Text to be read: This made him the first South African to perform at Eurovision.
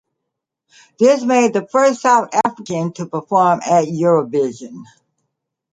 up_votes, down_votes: 0, 2